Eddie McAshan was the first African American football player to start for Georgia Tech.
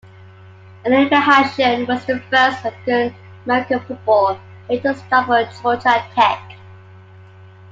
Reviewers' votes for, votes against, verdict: 2, 0, accepted